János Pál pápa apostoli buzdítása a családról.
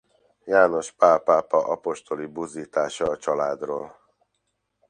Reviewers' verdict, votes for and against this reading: accepted, 2, 0